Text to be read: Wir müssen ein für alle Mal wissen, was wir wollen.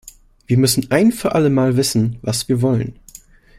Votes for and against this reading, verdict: 2, 0, accepted